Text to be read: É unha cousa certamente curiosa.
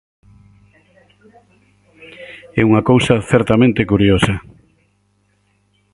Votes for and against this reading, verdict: 2, 4, rejected